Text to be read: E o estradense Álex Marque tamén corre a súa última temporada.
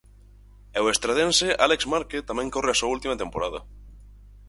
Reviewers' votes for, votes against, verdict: 4, 0, accepted